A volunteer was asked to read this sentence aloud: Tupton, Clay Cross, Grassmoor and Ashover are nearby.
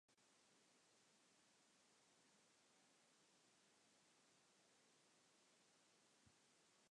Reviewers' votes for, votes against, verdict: 0, 2, rejected